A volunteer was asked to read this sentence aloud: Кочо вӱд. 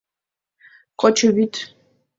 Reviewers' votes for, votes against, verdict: 3, 1, accepted